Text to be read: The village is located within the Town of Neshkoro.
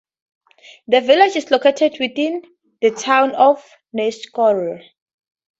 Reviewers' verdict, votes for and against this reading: accepted, 2, 0